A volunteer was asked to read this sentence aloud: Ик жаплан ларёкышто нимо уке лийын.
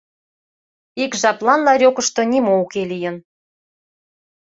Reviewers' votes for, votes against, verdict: 2, 0, accepted